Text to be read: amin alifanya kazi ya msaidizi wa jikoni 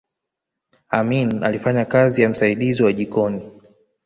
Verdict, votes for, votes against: accepted, 2, 1